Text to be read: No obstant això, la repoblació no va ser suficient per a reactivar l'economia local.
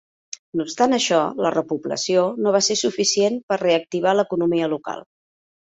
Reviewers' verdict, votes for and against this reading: accepted, 2, 0